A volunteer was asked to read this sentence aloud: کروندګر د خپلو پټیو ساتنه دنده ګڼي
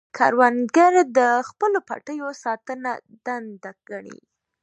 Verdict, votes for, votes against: accepted, 2, 1